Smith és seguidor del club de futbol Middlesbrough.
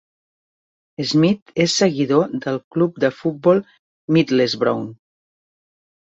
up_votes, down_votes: 2, 1